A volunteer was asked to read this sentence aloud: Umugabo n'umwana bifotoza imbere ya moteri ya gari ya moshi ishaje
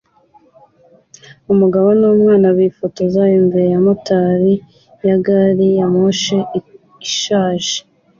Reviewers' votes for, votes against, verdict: 2, 0, accepted